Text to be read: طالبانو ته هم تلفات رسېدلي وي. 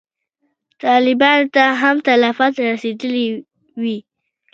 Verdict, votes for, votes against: accepted, 2, 1